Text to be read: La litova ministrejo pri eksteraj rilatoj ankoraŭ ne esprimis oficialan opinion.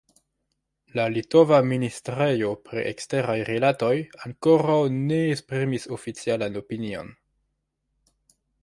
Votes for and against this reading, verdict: 1, 2, rejected